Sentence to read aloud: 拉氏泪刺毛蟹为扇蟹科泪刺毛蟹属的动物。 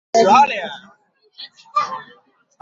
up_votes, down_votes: 0, 2